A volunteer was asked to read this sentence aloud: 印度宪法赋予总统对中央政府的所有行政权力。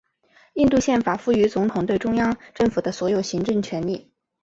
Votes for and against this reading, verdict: 2, 0, accepted